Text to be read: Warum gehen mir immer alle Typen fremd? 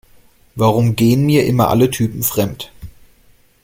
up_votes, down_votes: 2, 0